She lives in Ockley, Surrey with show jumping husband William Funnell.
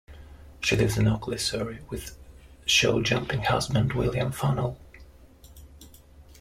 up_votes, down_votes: 2, 0